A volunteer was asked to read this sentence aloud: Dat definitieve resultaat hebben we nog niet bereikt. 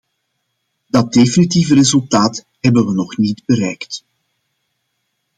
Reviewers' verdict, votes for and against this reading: accepted, 2, 0